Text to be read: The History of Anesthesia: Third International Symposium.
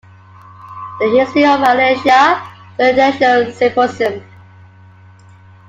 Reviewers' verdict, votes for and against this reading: rejected, 1, 2